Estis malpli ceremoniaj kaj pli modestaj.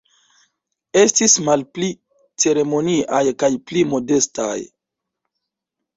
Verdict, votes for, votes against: accepted, 2, 0